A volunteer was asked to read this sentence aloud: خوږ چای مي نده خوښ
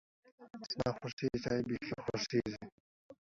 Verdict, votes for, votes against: rejected, 0, 2